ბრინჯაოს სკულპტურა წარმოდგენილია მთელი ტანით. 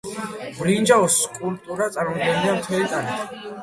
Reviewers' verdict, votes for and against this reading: accepted, 2, 1